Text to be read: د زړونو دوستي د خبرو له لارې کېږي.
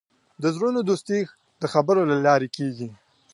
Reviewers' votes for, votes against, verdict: 2, 0, accepted